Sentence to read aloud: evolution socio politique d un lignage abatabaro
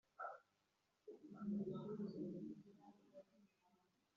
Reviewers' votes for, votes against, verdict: 1, 3, rejected